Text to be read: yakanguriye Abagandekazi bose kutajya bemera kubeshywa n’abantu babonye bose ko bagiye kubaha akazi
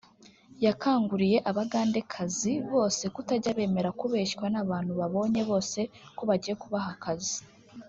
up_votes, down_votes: 0, 2